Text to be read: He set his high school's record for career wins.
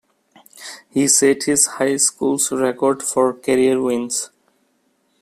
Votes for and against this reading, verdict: 2, 0, accepted